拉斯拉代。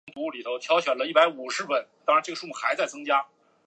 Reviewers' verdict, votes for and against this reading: rejected, 0, 2